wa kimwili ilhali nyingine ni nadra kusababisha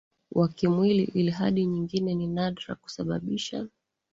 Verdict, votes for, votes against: rejected, 0, 2